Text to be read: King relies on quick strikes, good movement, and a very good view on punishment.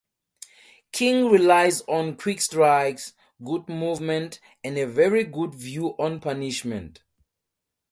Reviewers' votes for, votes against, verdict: 2, 0, accepted